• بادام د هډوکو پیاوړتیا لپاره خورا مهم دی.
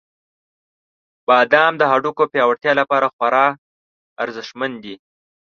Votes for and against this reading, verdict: 0, 2, rejected